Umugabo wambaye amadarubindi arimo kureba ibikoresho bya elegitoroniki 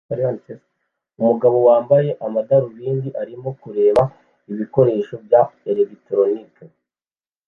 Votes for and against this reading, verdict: 1, 2, rejected